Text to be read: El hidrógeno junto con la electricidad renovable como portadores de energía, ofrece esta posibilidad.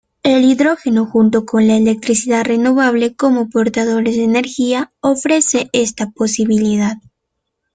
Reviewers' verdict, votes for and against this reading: accepted, 2, 0